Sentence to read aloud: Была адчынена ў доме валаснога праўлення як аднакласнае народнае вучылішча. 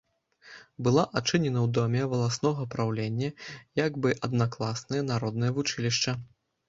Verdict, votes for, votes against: rejected, 0, 2